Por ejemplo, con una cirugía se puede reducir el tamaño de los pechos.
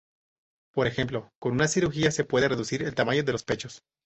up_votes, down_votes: 4, 0